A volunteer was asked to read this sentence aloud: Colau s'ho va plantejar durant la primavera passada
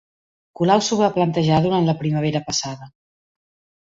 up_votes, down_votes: 3, 0